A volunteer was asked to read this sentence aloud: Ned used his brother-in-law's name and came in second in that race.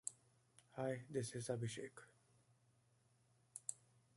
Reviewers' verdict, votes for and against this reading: rejected, 0, 2